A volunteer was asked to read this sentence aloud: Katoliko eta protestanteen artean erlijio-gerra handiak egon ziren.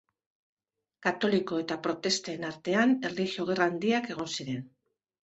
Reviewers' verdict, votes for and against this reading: rejected, 0, 2